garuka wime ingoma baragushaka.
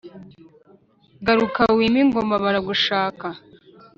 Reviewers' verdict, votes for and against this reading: accepted, 2, 0